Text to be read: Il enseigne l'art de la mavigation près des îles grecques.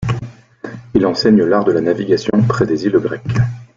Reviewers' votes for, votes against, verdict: 0, 2, rejected